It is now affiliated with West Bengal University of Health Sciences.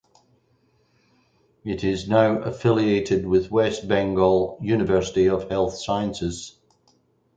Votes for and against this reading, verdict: 4, 0, accepted